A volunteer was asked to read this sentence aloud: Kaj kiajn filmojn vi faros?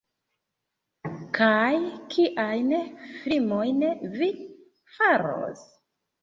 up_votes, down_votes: 0, 2